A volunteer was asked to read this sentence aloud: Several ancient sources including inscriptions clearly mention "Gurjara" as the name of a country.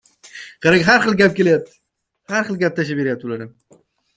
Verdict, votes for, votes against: rejected, 0, 2